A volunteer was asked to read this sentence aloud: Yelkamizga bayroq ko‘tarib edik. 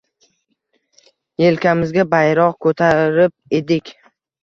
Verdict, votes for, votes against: accepted, 2, 0